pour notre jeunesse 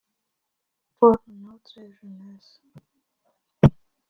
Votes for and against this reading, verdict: 1, 2, rejected